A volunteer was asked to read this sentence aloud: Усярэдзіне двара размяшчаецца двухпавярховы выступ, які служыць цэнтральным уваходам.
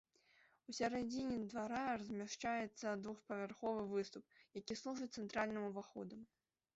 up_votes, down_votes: 0, 2